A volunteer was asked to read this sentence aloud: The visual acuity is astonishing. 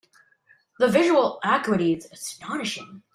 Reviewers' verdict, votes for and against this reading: rejected, 1, 2